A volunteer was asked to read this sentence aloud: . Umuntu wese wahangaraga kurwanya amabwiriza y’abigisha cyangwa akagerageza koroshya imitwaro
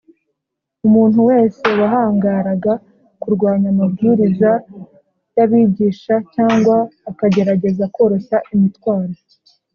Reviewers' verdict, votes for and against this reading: accepted, 2, 0